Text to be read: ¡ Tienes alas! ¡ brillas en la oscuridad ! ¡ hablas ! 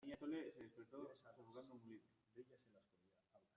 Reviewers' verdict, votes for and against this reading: rejected, 0, 2